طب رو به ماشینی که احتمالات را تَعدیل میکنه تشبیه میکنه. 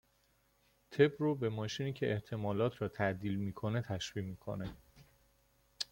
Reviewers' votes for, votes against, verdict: 2, 0, accepted